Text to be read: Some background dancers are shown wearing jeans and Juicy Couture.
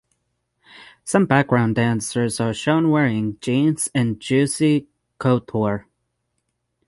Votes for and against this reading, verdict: 3, 6, rejected